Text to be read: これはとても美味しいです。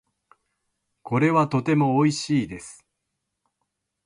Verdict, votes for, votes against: accepted, 3, 0